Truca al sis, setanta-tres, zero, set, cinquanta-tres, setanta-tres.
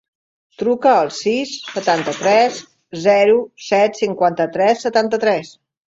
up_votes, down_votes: 1, 2